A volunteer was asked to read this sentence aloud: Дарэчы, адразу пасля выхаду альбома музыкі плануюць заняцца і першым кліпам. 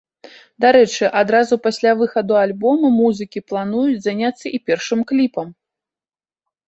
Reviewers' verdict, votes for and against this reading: rejected, 0, 2